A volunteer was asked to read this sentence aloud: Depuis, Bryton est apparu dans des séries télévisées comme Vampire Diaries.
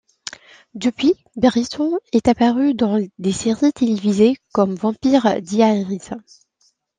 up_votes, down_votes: 2, 0